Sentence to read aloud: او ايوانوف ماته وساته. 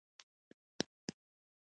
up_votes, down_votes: 2, 1